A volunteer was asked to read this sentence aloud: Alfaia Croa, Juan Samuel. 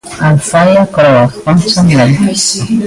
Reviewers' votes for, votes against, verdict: 0, 2, rejected